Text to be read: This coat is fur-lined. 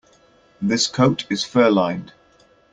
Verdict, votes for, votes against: accepted, 2, 0